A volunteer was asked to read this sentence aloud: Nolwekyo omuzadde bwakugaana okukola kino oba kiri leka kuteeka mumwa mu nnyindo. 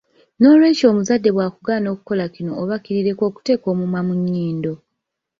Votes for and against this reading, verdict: 3, 1, accepted